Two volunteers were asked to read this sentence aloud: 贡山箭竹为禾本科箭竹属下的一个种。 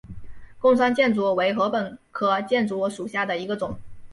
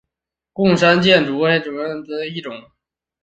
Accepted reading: first